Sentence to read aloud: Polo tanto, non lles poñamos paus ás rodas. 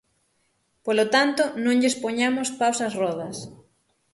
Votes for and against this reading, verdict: 6, 0, accepted